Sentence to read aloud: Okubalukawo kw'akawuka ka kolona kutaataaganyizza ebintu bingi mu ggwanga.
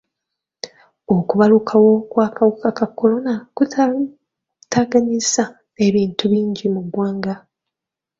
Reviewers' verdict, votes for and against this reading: rejected, 1, 2